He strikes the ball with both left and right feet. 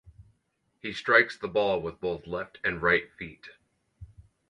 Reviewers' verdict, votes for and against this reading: accepted, 4, 0